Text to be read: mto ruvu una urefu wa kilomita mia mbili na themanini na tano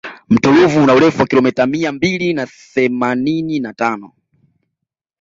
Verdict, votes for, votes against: accepted, 2, 0